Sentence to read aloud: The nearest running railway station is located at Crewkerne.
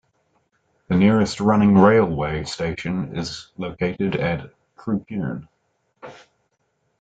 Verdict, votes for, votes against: rejected, 1, 2